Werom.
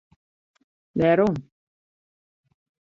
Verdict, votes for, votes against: rejected, 0, 2